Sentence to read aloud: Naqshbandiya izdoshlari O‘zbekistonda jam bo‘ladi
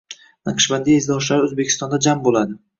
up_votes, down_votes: 2, 0